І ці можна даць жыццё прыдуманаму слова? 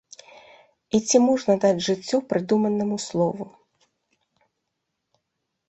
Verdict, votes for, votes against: rejected, 1, 2